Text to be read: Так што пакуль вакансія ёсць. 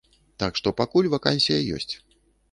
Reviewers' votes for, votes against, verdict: 2, 0, accepted